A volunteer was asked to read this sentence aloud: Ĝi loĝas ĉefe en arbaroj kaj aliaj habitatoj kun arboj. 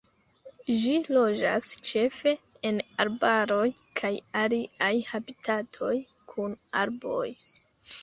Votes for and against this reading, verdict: 2, 0, accepted